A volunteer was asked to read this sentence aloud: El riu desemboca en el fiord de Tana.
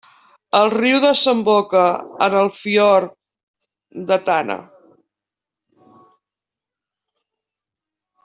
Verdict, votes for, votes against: accepted, 2, 0